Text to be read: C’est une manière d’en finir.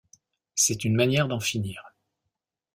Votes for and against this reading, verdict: 2, 0, accepted